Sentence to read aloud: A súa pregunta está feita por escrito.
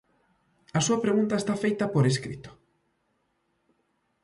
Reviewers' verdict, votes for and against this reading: accepted, 2, 0